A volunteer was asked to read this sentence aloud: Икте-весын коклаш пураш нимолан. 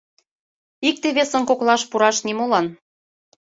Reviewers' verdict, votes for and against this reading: accepted, 2, 0